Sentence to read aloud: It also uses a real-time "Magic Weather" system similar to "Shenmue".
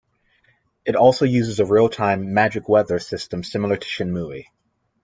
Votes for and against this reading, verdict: 2, 0, accepted